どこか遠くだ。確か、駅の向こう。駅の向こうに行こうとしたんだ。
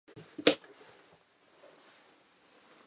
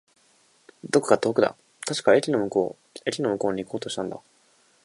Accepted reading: second